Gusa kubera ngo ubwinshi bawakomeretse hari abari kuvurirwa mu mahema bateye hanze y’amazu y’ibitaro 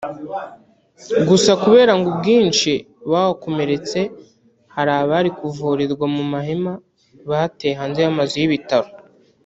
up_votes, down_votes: 1, 2